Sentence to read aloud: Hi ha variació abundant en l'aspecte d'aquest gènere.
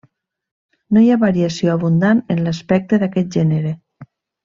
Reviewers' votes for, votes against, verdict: 0, 2, rejected